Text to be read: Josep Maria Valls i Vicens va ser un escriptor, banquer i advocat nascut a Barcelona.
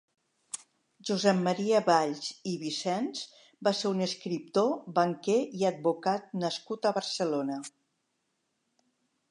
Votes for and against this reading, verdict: 3, 0, accepted